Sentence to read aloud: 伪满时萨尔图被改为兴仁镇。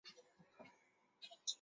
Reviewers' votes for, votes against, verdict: 0, 2, rejected